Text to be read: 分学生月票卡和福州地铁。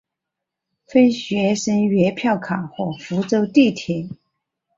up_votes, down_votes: 6, 0